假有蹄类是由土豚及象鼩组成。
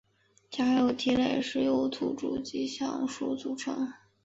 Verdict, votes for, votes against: rejected, 0, 2